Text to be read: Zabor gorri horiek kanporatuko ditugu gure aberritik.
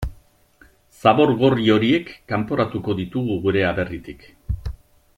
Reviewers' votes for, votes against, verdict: 2, 0, accepted